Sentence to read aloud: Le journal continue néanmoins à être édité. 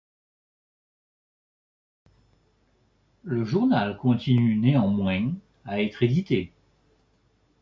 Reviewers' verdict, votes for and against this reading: rejected, 0, 2